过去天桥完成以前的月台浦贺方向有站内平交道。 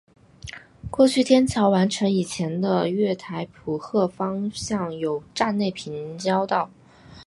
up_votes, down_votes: 4, 0